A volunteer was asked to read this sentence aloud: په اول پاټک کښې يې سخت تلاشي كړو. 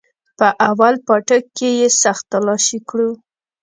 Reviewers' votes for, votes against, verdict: 2, 0, accepted